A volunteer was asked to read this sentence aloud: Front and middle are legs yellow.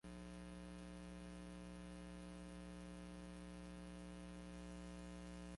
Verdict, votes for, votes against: rejected, 1, 2